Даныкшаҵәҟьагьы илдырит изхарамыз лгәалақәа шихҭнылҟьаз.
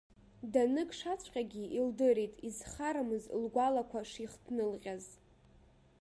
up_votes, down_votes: 1, 2